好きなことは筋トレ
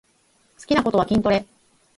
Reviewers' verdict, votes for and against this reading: rejected, 0, 4